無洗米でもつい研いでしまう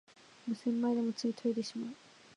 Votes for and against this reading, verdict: 2, 0, accepted